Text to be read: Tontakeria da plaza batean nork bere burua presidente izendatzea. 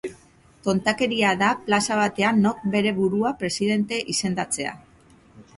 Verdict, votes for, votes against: accepted, 2, 0